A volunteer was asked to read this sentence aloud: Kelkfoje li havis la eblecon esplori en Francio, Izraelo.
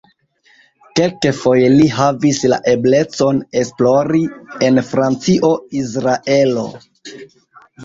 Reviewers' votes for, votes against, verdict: 0, 2, rejected